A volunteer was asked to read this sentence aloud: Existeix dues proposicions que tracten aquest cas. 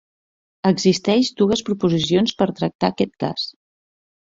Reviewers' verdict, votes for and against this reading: rejected, 0, 2